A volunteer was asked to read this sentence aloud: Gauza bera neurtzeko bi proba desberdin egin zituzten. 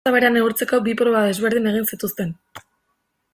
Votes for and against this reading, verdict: 1, 2, rejected